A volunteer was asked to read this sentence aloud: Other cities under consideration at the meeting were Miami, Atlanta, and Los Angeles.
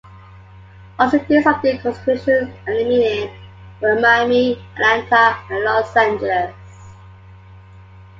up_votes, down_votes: 1, 2